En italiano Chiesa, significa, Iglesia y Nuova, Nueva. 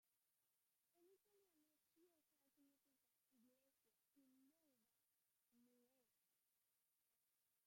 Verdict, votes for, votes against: rejected, 0, 2